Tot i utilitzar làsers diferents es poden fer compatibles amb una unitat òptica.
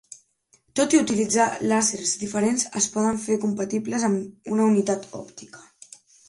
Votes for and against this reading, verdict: 3, 1, accepted